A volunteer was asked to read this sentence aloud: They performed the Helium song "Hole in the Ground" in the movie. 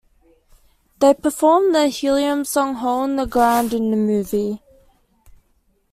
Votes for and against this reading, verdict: 2, 1, accepted